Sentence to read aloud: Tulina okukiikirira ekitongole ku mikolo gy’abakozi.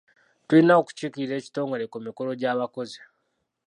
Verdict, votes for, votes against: rejected, 1, 2